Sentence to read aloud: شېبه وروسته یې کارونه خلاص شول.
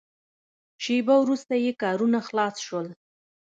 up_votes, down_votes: 2, 0